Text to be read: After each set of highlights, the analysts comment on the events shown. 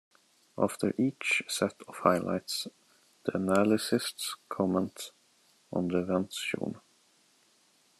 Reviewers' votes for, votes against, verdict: 2, 1, accepted